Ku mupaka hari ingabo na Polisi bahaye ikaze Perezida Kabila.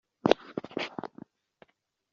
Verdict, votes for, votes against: rejected, 0, 2